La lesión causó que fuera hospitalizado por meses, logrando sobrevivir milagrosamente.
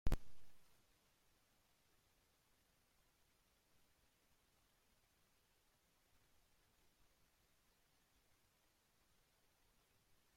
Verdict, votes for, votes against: rejected, 0, 2